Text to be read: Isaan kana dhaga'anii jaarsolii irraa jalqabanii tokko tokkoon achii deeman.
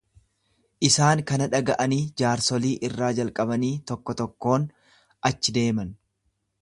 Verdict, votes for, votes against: accepted, 2, 0